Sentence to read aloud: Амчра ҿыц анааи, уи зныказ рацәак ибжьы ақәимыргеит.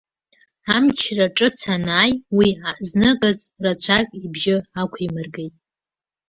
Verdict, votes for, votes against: rejected, 2, 3